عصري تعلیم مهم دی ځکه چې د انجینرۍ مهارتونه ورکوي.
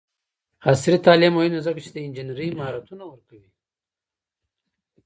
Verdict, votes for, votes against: accepted, 2, 0